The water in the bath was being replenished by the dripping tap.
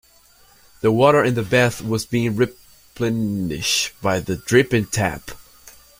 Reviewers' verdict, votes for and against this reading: rejected, 0, 2